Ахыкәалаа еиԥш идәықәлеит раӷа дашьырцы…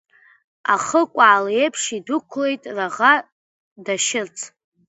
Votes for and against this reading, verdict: 1, 3, rejected